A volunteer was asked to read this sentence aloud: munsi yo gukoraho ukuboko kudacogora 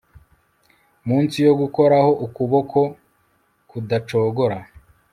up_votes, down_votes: 1, 2